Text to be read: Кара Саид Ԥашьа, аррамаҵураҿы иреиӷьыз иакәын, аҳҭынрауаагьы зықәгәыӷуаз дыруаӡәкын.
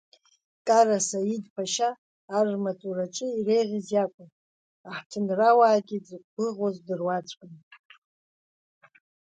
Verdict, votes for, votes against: accepted, 2, 0